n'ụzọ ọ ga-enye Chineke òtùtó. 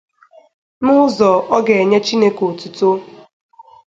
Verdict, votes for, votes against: accepted, 2, 0